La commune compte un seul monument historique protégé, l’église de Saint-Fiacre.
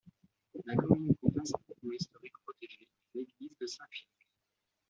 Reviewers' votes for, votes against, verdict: 0, 2, rejected